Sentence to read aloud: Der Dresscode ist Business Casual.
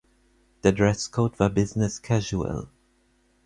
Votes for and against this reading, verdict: 0, 4, rejected